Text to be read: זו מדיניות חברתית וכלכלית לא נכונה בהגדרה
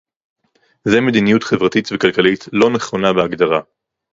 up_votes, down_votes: 0, 4